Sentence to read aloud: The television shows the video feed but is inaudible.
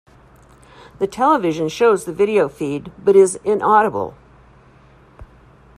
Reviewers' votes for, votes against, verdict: 2, 0, accepted